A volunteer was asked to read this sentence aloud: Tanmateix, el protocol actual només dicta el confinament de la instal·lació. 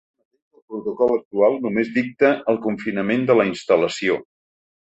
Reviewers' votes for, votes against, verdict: 0, 3, rejected